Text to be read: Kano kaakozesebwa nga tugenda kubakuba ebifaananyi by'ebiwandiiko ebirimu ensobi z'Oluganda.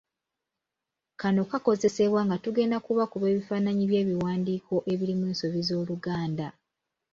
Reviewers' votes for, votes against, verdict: 2, 0, accepted